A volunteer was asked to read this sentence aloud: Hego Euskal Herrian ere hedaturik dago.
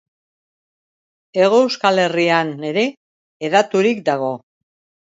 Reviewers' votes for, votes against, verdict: 2, 0, accepted